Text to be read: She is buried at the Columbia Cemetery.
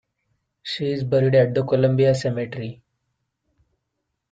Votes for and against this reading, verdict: 2, 0, accepted